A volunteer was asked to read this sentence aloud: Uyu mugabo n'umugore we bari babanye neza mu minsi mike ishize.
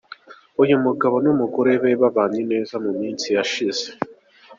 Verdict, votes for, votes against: rejected, 0, 2